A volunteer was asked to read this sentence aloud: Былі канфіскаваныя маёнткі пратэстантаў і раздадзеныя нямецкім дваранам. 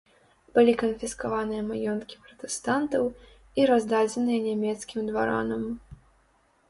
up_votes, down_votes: 2, 0